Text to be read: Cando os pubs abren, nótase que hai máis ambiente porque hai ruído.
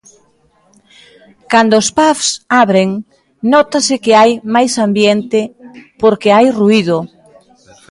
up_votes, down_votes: 2, 0